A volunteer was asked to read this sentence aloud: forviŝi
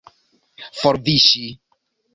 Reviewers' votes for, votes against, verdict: 2, 0, accepted